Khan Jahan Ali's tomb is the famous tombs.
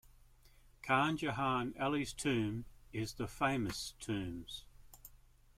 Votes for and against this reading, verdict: 1, 2, rejected